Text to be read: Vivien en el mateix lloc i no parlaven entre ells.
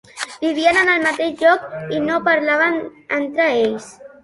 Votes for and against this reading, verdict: 2, 0, accepted